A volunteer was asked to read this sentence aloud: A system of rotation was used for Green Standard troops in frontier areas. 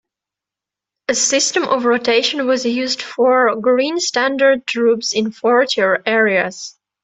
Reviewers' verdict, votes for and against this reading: accepted, 2, 0